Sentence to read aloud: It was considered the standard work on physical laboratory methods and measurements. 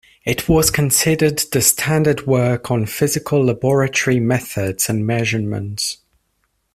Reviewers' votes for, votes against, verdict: 2, 0, accepted